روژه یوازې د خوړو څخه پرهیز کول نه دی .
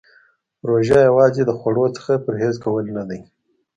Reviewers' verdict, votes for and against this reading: accepted, 2, 0